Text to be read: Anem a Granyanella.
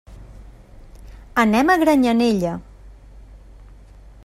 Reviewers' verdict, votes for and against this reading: accepted, 3, 0